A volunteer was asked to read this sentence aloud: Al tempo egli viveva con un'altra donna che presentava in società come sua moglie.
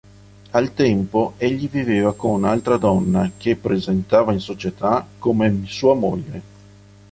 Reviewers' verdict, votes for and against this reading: accepted, 5, 3